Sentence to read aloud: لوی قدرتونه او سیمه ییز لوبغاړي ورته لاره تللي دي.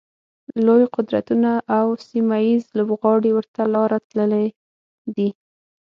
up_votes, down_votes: 6, 3